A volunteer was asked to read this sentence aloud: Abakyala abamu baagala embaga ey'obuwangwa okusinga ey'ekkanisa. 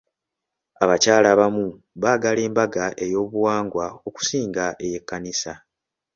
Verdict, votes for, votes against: accepted, 2, 0